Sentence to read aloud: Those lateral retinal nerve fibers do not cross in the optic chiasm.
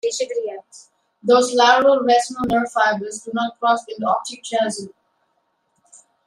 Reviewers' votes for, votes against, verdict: 1, 2, rejected